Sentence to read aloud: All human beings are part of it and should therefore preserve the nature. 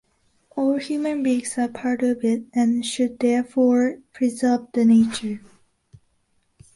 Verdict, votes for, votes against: accepted, 2, 0